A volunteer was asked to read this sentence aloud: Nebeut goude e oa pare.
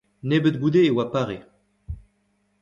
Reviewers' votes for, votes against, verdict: 2, 1, accepted